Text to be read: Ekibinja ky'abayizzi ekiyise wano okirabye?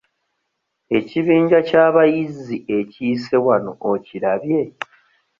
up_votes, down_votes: 2, 0